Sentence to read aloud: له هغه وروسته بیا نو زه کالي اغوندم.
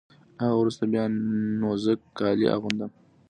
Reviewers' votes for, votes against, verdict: 2, 0, accepted